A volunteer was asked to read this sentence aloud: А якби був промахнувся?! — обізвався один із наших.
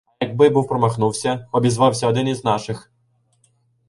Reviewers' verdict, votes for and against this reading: rejected, 2, 3